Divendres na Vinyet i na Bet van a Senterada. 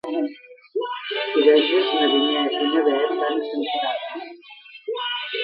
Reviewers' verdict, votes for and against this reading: rejected, 1, 2